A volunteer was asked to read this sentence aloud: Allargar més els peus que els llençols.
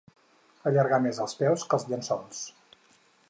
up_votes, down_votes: 4, 0